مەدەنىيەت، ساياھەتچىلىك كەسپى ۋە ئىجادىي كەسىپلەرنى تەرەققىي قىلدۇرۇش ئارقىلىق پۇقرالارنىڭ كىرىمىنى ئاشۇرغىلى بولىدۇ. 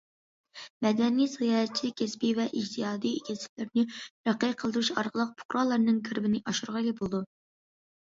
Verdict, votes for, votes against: rejected, 0, 2